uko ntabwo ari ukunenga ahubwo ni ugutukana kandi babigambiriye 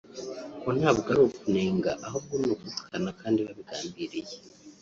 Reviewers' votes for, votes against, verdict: 1, 2, rejected